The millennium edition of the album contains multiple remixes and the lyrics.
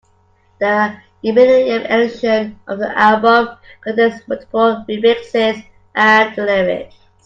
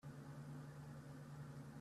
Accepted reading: first